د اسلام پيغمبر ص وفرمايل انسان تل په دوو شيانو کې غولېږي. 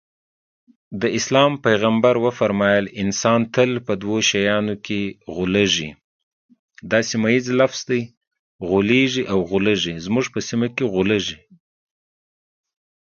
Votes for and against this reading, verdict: 1, 2, rejected